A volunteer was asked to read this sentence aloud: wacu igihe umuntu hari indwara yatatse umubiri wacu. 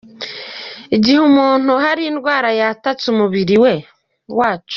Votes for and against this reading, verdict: 1, 2, rejected